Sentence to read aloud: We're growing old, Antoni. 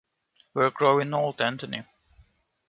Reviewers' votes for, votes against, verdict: 2, 1, accepted